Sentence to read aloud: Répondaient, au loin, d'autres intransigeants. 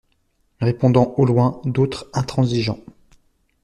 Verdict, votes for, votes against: rejected, 1, 2